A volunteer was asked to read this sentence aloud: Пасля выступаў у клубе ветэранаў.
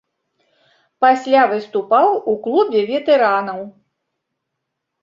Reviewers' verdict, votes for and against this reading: accepted, 2, 0